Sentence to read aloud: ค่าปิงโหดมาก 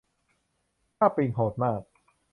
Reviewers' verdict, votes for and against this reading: accepted, 2, 0